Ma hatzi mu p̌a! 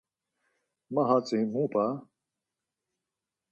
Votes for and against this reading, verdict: 4, 0, accepted